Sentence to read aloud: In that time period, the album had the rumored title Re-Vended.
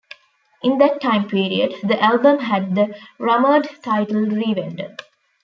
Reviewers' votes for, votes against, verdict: 0, 2, rejected